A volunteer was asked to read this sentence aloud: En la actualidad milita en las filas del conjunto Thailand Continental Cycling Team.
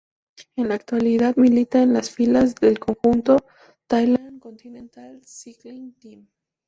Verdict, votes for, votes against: accepted, 2, 0